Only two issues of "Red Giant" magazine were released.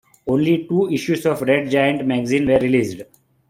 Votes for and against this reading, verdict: 0, 2, rejected